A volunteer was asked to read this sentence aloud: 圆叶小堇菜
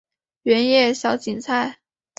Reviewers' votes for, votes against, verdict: 2, 0, accepted